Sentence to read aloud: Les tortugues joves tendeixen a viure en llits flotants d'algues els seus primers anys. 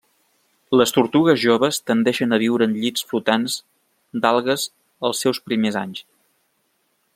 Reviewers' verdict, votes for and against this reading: accepted, 3, 0